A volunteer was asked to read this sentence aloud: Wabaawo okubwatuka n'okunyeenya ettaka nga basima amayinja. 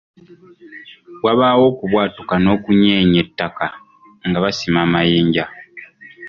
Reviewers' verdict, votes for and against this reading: rejected, 0, 2